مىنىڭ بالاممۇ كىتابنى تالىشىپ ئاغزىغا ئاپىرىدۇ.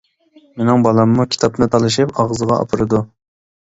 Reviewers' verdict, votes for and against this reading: accepted, 2, 0